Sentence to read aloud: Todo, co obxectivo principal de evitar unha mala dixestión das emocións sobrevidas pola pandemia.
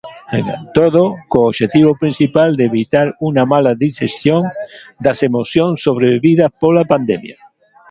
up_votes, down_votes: 0, 2